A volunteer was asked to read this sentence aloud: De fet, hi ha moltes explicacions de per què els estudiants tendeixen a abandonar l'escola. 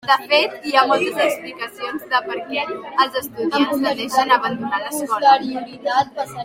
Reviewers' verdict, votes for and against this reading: rejected, 0, 2